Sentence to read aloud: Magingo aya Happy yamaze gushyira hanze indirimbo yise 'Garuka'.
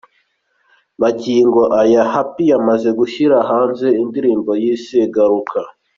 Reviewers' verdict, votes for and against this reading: accepted, 2, 1